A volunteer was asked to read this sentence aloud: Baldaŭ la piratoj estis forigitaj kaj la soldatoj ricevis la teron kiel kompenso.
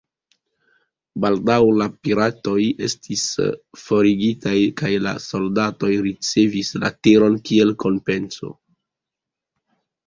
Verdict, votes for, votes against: accepted, 2, 0